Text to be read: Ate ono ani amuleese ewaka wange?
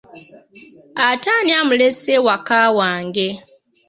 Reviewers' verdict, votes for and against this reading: rejected, 1, 2